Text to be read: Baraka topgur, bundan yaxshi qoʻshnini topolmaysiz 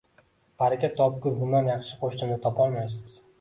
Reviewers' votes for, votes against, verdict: 2, 1, accepted